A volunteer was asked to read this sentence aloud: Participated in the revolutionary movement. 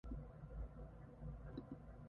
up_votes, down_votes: 0, 2